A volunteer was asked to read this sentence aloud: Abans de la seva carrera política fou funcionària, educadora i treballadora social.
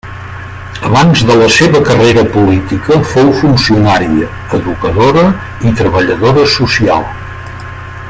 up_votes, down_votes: 3, 1